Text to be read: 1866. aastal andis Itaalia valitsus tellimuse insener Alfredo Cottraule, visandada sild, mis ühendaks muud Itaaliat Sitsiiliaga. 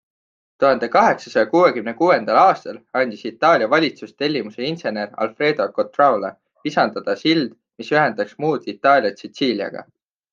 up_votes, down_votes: 0, 2